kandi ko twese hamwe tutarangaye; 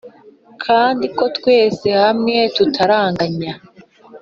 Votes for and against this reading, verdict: 2, 0, accepted